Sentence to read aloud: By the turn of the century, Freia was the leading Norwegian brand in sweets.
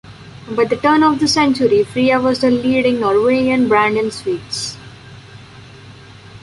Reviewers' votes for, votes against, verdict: 2, 0, accepted